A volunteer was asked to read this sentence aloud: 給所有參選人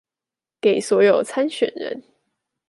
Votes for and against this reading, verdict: 2, 0, accepted